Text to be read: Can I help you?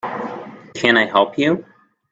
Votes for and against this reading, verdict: 2, 0, accepted